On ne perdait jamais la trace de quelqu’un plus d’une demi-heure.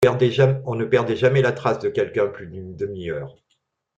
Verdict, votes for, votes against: rejected, 0, 2